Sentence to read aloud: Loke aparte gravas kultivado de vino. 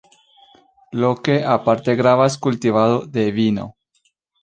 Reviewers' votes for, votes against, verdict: 2, 1, accepted